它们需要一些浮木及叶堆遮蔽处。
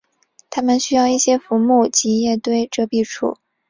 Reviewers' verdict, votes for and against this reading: accepted, 8, 0